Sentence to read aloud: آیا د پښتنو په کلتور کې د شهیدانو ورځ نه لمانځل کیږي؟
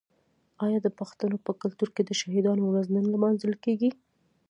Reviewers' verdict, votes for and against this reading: accepted, 2, 0